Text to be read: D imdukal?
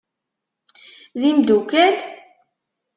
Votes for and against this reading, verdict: 2, 0, accepted